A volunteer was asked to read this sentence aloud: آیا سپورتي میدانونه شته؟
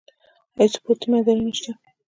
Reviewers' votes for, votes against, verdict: 1, 2, rejected